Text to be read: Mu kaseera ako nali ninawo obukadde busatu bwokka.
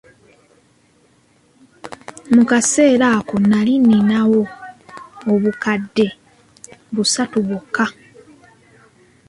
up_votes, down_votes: 2, 0